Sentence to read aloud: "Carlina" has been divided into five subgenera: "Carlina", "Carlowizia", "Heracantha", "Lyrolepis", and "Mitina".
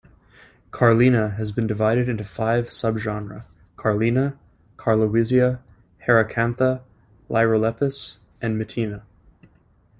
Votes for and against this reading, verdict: 2, 1, accepted